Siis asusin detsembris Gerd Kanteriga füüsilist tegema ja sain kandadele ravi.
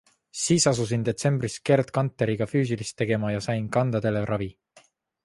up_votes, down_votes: 2, 0